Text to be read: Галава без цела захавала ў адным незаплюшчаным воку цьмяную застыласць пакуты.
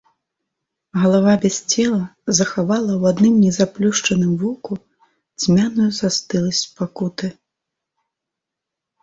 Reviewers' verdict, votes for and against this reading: accepted, 2, 0